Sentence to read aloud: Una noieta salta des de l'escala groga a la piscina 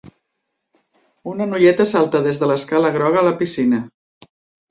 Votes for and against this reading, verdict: 4, 0, accepted